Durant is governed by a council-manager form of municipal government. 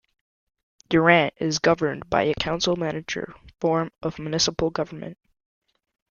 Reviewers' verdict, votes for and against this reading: accepted, 2, 0